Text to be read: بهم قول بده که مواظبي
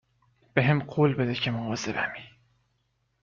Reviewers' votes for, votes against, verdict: 1, 3, rejected